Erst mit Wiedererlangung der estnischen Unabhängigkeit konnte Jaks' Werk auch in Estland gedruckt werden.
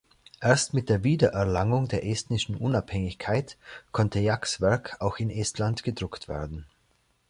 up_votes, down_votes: 1, 2